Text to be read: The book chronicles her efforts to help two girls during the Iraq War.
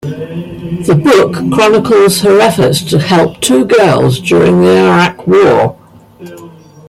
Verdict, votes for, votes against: accepted, 2, 1